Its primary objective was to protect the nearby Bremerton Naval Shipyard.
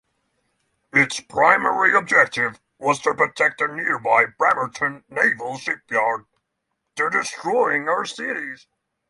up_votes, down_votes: 0, 3